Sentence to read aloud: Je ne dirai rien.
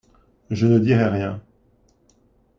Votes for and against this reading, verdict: 2, 0, accepted